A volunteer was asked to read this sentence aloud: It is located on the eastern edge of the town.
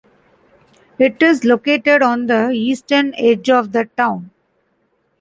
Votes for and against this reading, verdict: 2, 0, accepted